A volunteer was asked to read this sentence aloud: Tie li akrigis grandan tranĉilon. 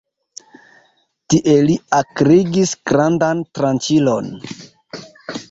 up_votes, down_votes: 1, 2